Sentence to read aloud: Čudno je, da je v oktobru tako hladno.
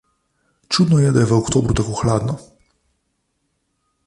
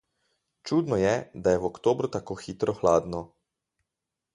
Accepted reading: first